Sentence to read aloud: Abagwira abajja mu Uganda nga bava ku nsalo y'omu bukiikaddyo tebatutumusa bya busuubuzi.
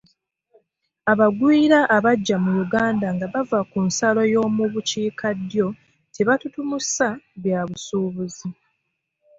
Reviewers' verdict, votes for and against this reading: accepted, 2, 0